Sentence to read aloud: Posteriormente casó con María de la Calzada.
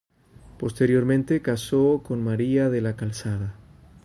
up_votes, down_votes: 2, 0